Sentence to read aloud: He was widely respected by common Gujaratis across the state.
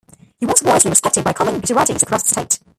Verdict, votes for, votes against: rejected, 0, 2